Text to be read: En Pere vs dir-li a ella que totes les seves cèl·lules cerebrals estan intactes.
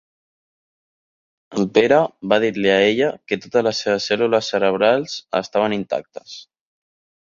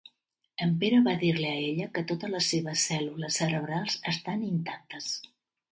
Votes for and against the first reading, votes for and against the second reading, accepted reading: 1, 2, 3, 1, second